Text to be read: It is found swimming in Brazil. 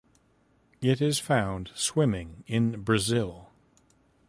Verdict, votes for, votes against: accepted, 2, 0